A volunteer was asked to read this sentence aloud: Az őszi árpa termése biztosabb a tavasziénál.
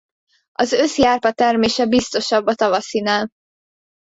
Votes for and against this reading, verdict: 0, 2, rejected